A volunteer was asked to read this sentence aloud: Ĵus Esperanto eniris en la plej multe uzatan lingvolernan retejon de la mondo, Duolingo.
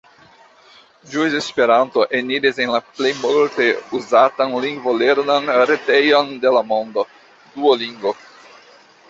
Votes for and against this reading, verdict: 2, 1, accepted